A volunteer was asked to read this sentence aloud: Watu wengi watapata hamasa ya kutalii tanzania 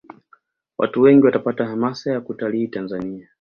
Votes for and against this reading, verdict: 2, 0, accepted